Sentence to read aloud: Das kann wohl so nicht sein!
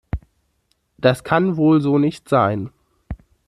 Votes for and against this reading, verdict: 2, 0, accepted